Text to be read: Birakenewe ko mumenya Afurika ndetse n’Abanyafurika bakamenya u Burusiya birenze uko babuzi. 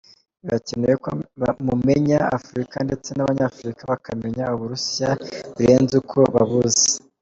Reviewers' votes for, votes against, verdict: 2, 1, accepted